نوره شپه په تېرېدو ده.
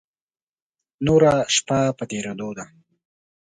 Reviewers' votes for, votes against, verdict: 2, 0, accepted